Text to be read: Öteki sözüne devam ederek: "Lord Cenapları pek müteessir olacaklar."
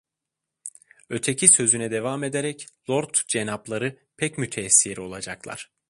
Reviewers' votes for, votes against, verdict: 2, 0, accepted